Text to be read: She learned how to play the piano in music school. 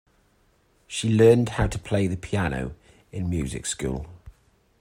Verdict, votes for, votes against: accepted, 2, 0